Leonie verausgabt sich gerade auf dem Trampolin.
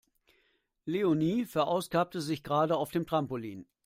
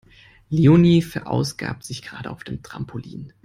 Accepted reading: second